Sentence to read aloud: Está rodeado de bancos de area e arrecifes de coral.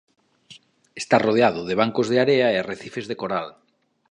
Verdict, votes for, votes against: accepted, 2, 0